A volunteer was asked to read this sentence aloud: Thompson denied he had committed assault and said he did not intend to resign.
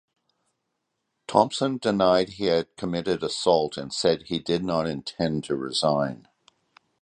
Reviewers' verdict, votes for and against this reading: accepted, 4, 0